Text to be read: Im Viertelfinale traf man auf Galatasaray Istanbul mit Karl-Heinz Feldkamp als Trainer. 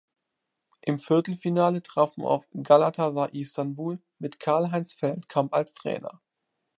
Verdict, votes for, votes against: rejected, 0, 2